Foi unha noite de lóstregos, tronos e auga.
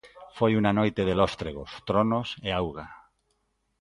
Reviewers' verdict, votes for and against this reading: accepted, 2, 0